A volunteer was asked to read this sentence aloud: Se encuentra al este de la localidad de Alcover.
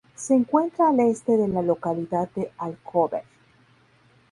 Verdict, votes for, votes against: accepted, 2, 0